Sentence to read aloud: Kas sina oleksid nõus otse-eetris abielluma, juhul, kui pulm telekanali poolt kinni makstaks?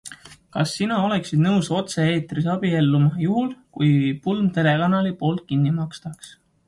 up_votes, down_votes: 2, 0